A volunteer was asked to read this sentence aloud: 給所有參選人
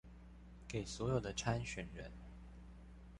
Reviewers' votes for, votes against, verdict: 1, 2, rejected